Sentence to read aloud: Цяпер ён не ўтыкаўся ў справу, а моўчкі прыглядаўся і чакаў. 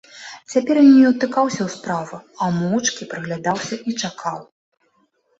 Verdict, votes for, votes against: accepted, 2, 0